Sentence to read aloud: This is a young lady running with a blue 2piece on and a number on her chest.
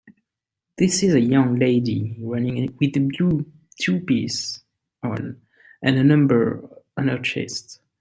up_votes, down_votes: 0, 2